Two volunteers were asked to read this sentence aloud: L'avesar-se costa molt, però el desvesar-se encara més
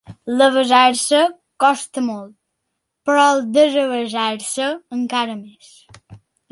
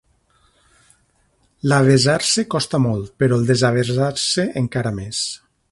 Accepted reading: first